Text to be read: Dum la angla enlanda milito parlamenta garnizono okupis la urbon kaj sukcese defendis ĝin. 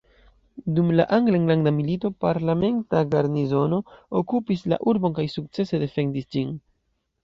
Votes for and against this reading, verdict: 2, 0, accepted